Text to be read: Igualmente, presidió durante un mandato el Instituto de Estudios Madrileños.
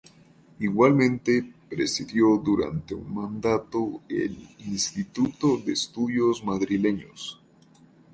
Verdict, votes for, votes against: accepted, 2, 0